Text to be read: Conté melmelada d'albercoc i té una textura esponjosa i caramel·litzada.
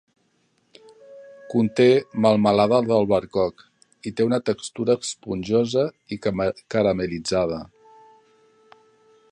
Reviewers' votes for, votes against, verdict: 0, 2, rejected